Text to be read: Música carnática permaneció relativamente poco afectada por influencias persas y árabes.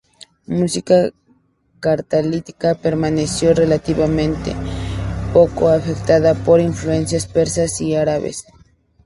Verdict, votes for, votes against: rejected, 0, 2